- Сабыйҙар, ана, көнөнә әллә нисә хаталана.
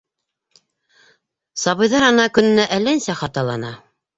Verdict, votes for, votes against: accepted, 2, 0